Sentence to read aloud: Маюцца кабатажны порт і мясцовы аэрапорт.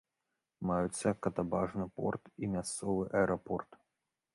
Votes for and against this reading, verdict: 0, 2, rejected